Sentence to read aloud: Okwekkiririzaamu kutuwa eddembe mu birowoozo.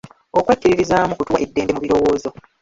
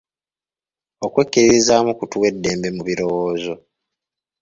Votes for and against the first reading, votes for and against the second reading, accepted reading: 0, 2, 4, 0, second